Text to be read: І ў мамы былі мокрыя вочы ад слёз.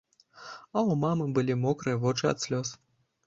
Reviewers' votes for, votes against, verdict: 1, 2, rejected